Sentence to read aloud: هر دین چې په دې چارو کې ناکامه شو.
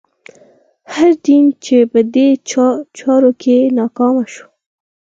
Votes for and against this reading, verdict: 4, 0, accepted